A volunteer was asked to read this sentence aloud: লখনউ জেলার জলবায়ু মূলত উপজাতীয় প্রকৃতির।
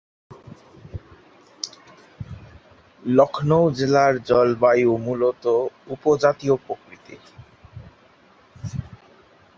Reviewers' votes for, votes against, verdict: 0, 2, rejected